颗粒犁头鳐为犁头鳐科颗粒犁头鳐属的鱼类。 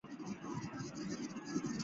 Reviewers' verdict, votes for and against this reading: rejected, 1, 2